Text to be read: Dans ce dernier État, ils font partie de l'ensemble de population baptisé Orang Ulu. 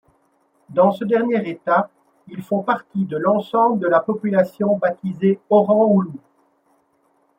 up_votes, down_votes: 1, 2